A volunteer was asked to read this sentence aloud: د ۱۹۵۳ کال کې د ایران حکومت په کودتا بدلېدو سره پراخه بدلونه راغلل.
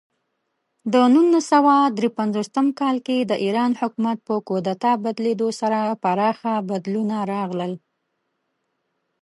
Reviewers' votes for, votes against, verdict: 0, 2, rejected